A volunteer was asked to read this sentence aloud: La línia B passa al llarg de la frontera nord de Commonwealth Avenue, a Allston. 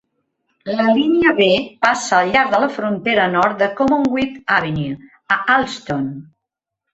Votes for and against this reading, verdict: 2, 0, accepted